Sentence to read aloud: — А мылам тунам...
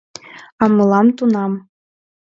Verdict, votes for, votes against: accepted, 2, 0